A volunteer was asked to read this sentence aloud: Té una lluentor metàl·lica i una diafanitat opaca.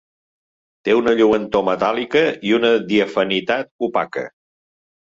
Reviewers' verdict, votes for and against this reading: accepted, 3, 0